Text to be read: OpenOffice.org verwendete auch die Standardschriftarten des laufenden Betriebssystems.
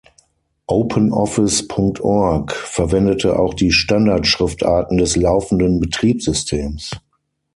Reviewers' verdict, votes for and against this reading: accepted, 6, 0